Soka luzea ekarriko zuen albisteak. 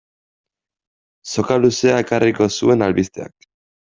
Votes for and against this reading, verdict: 1, 2, rejected